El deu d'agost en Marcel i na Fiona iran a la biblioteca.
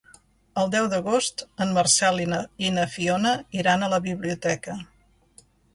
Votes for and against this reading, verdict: 1, 2, rejected